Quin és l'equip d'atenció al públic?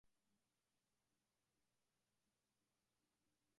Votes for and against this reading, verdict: 0, 2, rejected